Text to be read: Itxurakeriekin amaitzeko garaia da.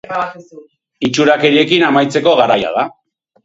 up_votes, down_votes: 0, 2